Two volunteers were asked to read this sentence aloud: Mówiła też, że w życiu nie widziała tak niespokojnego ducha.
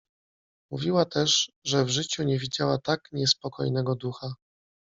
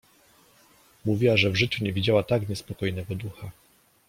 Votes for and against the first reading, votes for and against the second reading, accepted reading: 2, 0, 1, 2, first